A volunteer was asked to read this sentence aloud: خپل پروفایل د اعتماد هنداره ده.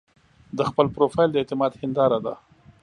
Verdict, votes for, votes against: rejected, 1, 2